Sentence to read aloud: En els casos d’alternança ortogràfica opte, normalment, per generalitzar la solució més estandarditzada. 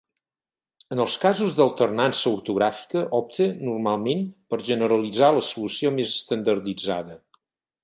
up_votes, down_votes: 4, 0